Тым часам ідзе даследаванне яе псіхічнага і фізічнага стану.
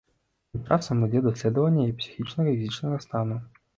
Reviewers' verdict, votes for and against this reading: rejected, 0, 2